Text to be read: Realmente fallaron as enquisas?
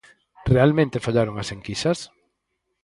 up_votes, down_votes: 2, 2